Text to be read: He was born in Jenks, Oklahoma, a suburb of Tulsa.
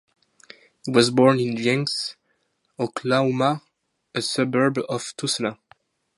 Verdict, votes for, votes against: rejected, 0, 2